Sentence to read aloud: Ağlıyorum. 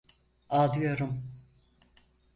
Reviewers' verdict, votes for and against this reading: accepted, 4, 0